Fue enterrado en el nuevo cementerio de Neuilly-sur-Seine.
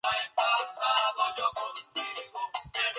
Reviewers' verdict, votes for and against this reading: rejected, 0, 2